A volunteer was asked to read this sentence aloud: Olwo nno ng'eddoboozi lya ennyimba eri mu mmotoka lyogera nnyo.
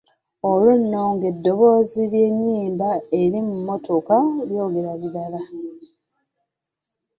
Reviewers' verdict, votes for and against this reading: rejected, 0, 2